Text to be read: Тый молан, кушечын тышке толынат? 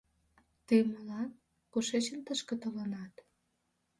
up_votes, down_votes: 2, 1